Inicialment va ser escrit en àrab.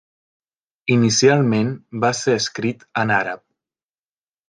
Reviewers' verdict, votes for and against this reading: accepted, 3, 0